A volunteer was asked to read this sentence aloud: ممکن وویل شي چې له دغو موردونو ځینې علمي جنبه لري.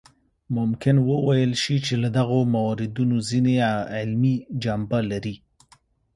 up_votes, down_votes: 2, 0